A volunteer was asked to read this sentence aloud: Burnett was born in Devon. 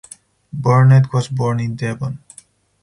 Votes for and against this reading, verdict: 4, 0, accepted